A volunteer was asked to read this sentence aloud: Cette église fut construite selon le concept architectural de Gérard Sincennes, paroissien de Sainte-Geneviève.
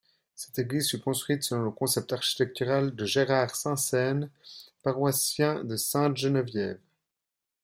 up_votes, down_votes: 2, 1